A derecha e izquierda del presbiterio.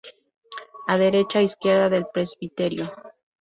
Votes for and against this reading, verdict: 2, 2, rejected